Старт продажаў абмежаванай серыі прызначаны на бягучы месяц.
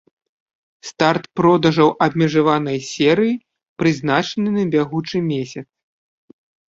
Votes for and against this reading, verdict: 2, 0, accepted